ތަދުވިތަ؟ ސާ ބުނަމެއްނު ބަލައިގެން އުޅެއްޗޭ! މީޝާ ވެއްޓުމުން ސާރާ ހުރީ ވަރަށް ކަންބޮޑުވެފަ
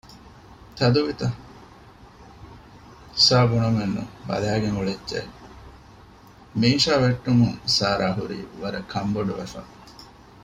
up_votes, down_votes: 2, 0